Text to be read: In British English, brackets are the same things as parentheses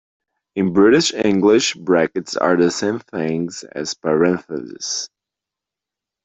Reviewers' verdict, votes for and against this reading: accepted, 2, 0